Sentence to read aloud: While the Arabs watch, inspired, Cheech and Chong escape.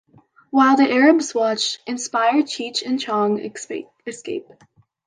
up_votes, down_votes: 2, 1